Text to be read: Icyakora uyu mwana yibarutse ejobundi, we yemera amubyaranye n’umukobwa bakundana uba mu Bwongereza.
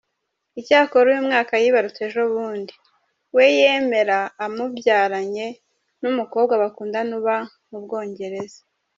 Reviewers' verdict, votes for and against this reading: rejected, 1, 2